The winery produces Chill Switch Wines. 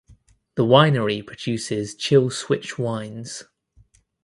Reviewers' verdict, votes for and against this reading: accepted, 2, 0